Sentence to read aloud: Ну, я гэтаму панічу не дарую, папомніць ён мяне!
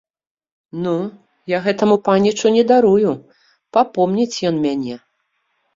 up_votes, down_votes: 2, 0